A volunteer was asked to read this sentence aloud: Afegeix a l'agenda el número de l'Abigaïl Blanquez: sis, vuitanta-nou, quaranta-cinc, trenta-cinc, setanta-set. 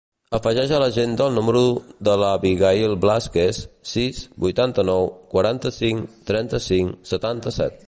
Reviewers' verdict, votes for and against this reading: rejected, 1, 2